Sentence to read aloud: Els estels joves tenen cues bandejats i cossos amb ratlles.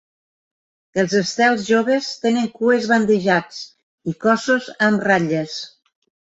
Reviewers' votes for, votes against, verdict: 2, 0, accepted